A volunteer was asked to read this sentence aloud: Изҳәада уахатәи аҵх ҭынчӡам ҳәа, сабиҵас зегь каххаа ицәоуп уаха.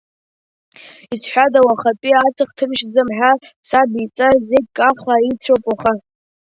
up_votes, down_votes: 0, 2